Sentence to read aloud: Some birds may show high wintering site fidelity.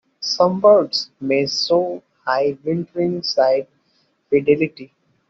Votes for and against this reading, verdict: 1, 2, rejected